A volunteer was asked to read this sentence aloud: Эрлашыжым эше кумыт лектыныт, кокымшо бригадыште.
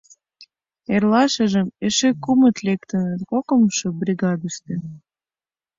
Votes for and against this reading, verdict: 2, 0, accepted